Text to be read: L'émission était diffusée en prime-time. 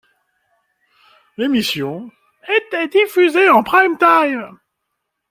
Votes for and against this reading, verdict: 2, 0, accepted